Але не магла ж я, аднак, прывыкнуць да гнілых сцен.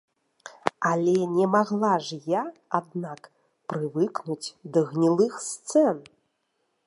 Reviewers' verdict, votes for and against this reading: rejected, 0, 2